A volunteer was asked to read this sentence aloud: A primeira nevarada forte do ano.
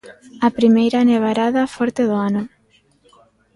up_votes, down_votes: 2, 1